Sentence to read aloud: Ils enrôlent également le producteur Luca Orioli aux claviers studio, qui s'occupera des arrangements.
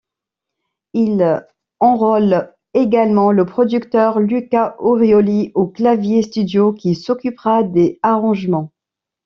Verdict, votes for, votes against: rejected, 1, 2